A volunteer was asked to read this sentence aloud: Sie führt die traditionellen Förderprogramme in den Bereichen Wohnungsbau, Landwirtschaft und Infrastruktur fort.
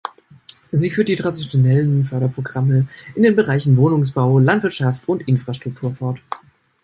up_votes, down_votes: 0, 2